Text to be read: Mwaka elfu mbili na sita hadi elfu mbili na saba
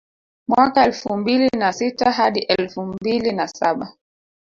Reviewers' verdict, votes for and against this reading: rejected, 1, 2